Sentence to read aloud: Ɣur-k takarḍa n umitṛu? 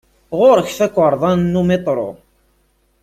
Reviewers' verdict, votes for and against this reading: accepted, 2, 1